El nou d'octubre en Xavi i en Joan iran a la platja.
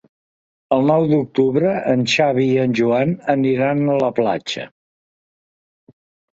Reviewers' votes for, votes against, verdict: 0, 3, rejected